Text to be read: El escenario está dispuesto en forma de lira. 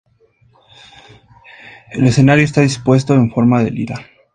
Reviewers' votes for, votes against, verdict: 2, 0, accepted